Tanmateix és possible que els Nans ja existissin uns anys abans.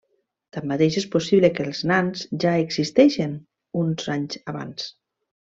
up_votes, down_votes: 0, 2